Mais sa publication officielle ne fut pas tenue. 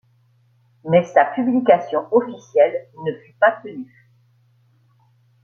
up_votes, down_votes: 2, 1